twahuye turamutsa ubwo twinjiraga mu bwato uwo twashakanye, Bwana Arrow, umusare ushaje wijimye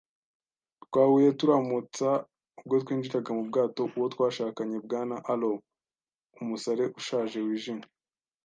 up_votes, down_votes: 2, 0